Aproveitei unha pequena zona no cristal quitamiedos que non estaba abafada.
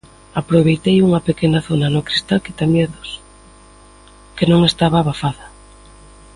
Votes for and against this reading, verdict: 2, 0, accepted